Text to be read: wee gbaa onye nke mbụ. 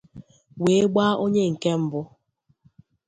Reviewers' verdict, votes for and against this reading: accepted, 2, 0